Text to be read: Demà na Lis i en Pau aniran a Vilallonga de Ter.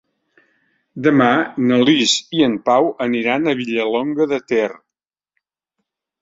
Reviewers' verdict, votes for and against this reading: rejected, 1, 2